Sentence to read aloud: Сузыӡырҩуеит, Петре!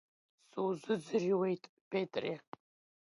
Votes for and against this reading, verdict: 1, 2, rejected